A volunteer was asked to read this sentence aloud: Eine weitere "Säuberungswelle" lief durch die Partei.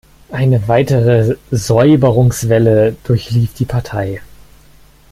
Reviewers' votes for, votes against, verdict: 0, 2, rejected